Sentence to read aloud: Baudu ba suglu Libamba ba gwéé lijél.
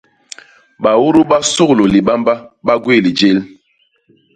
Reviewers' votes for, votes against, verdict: 2, 0, accepted